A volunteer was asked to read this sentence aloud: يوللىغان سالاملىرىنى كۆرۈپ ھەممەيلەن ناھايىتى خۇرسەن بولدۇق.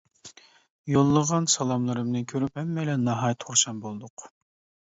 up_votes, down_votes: 0, 2